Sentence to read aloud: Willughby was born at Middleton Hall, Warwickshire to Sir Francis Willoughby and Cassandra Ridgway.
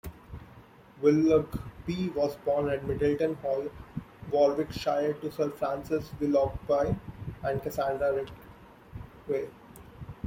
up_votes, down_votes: 1, 2